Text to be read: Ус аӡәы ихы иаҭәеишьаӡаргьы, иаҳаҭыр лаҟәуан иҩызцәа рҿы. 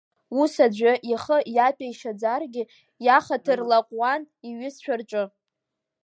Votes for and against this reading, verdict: 2, 0, accepted